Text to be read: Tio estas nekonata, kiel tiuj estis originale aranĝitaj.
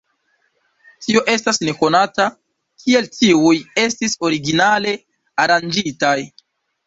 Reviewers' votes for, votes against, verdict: 2, 0, accepted